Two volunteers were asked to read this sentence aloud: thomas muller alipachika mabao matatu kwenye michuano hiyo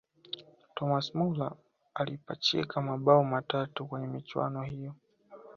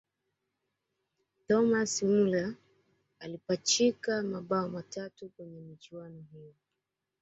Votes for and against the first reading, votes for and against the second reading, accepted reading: 2, 0, 0, 2, first